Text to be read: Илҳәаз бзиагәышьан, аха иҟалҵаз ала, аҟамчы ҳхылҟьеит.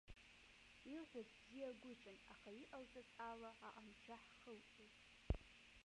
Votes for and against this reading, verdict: 0, 2, rejected